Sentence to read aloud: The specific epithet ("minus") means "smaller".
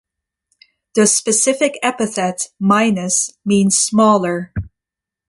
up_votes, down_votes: 2, 0